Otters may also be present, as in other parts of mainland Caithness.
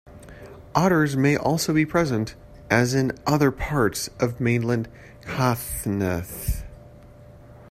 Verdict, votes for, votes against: rejected, 1, 2